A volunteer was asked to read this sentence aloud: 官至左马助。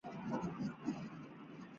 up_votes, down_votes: 0, 2